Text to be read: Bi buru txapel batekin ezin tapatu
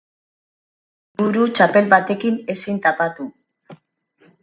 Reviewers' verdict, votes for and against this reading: rejected, 0, 2